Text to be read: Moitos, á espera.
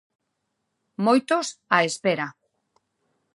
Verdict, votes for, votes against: accepted, 2, 0